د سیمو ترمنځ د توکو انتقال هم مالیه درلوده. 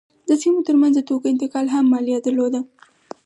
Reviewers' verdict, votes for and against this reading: accepted, 4, 0